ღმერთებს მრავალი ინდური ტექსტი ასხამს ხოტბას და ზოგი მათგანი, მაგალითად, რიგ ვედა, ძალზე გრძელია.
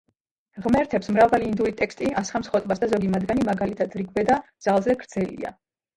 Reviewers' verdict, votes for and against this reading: rejected, 1, 3